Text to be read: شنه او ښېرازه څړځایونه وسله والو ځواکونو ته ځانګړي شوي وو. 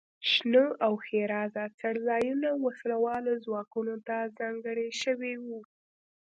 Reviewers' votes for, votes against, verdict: 2, 0, accepted